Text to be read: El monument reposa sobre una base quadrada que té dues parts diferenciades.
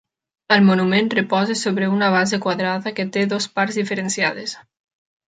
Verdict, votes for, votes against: rejected, 0, 2